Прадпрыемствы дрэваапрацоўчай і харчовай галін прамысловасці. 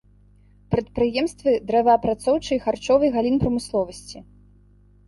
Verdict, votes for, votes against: accepted, 2, 0